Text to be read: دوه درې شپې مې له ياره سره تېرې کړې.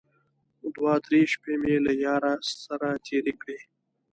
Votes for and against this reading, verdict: 2, 1, accepted